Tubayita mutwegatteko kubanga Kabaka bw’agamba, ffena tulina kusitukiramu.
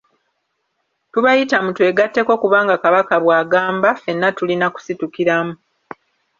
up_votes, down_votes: 3, 0